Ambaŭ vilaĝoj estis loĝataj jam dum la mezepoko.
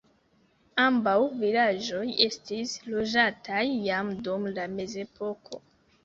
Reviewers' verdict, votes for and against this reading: accepted, 2, 1